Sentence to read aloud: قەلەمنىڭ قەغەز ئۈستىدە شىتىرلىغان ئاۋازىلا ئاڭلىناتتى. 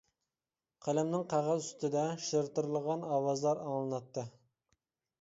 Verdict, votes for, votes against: rejected, 0, 2